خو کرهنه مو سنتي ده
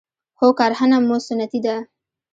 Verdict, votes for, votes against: rejected, 0, 2